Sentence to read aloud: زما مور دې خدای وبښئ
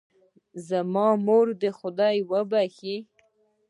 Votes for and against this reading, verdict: 2, 0, accepted